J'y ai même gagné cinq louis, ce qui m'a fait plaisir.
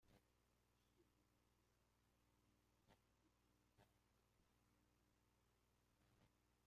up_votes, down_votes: 0, 2